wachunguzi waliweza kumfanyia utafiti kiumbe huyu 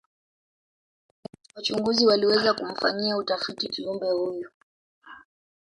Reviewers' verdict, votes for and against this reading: rejected, 1, 3